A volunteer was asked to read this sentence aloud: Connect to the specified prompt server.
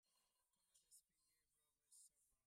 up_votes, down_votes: 0, 2